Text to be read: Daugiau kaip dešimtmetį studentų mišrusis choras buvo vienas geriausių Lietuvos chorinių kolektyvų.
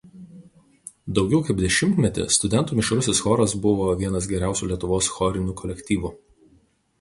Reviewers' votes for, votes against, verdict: 4, 0, accepted